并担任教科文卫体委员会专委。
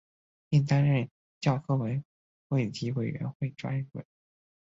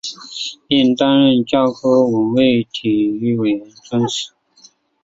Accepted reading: first